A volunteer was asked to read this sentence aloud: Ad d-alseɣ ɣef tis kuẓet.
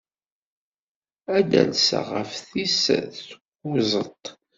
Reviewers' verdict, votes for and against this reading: accepted, 2, 1